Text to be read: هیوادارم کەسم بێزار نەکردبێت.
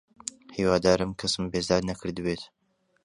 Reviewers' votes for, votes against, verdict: 2, 0, accepted